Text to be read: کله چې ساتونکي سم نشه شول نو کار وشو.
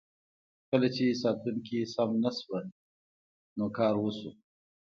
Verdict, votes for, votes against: accepted, 2, 0